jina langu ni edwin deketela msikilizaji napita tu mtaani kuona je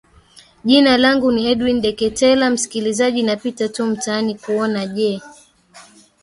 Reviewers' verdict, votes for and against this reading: accepted, 2, 0